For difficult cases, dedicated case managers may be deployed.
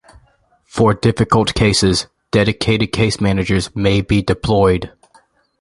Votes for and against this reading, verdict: 2, 0, accepted